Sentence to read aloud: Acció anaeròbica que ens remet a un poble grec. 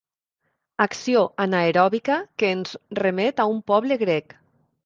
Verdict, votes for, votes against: accepted, 3, 1